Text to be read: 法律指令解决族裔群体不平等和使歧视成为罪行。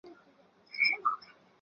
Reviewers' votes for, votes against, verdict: 0, 3, rejected